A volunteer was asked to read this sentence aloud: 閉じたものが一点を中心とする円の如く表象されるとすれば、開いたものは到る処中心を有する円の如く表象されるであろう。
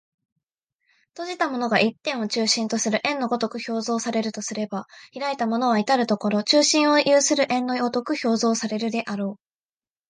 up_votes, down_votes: 2, 0